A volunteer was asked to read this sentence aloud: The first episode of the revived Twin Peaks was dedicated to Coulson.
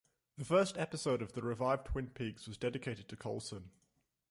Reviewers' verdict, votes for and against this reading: accepted, 2, 0